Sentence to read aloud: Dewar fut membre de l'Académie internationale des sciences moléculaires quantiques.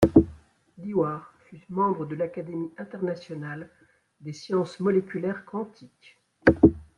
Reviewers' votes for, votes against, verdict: 2, 0, accepted